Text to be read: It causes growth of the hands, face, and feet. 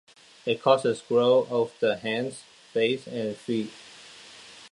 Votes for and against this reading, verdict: 0, 2, rejected